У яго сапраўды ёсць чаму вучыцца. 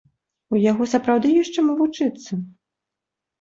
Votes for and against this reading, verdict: 2, 0, accepted